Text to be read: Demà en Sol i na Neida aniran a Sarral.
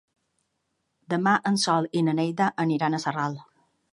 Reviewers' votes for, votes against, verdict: 2, 0, accepted